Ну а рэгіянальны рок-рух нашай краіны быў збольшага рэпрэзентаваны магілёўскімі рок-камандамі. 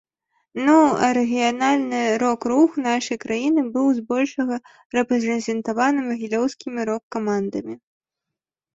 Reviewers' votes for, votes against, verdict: 1, 2, rejected